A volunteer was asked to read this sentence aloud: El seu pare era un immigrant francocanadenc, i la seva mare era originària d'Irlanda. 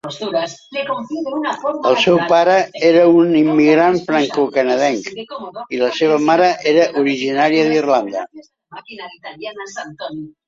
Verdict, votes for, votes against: rejected, 0, 2